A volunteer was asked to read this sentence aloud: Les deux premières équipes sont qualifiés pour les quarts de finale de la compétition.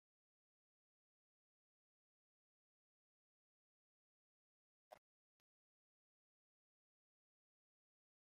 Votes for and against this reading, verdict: 0, 2, rejected